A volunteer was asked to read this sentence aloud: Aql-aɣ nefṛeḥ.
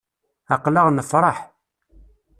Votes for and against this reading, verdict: 2, 0, accepted